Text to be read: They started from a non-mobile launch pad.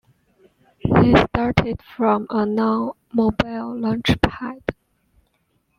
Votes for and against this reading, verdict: 2, 0, accepted